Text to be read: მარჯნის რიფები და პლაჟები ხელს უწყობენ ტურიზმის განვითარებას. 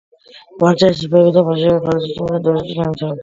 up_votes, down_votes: 0, 2